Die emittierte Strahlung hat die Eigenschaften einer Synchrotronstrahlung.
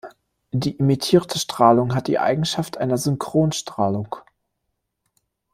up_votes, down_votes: 0, 2